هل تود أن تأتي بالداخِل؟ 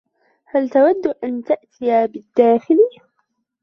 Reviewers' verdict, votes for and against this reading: rejected, 1, 2